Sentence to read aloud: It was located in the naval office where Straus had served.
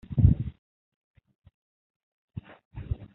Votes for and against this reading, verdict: 0, 2, rejected